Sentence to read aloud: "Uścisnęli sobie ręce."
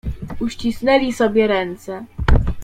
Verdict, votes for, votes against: accepted, 2, 0